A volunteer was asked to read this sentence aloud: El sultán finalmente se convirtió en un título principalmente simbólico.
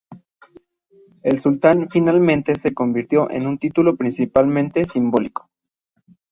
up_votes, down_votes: 2, 0